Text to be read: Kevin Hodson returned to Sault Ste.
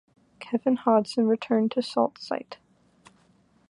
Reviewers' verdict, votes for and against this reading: accepted, 2, 1